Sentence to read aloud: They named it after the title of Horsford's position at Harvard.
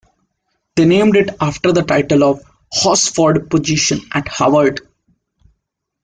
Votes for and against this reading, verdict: 2, 1, accepted